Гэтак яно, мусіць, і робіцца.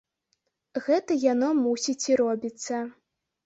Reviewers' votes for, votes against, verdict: 0, 2, rejected